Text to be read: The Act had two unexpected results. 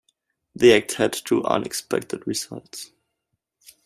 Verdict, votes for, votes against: accepted, 2, 0